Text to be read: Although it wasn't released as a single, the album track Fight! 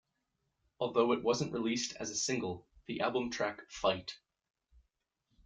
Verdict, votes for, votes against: accepted, 2, 1